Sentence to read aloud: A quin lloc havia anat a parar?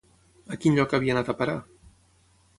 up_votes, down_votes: 6, 0